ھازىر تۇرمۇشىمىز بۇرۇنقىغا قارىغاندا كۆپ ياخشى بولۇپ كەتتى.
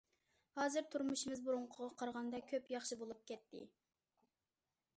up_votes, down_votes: 2, 0